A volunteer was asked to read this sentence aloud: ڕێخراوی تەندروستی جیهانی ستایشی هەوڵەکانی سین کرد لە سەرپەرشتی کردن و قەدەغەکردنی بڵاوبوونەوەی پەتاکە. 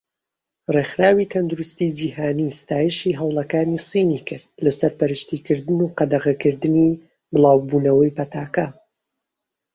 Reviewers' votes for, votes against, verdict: 1, 2, rejected